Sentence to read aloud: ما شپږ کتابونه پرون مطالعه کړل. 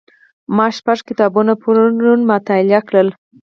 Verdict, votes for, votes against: accepted, 4, 2